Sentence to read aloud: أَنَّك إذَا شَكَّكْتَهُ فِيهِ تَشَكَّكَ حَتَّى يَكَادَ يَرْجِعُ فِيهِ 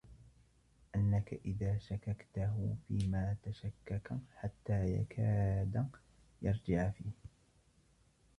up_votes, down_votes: 1, 2